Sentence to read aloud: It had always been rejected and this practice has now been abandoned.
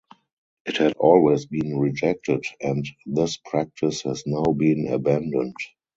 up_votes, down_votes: 2, 0